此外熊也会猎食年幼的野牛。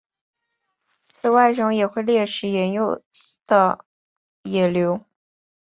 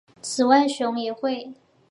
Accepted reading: first